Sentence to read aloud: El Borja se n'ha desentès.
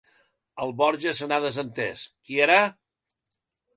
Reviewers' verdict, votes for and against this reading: rejected, 0, 3